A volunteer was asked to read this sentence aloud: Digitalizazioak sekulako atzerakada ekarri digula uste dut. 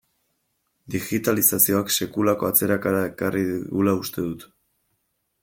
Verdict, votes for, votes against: accepted, 2, 1